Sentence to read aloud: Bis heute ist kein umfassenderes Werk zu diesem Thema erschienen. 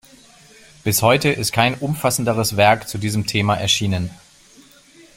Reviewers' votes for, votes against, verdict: 2, 0, accepted